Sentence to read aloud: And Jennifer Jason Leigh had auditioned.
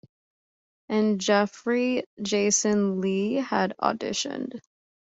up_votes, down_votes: 0, 2